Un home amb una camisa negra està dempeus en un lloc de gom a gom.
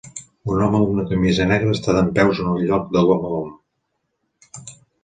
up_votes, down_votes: 3, 1